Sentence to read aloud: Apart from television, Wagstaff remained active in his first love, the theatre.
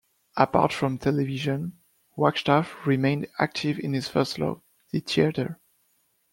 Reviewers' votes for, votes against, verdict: 2, 0, accepted